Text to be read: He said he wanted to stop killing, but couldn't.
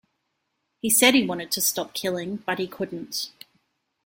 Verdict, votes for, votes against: accepted, 2, 1